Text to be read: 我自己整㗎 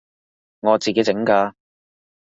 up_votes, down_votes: 2, 0